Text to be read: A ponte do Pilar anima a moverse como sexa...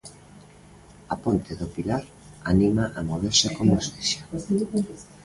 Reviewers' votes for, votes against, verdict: 2, 0, accepted